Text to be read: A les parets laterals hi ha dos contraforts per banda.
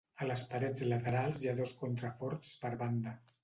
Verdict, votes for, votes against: accepted, 2, 0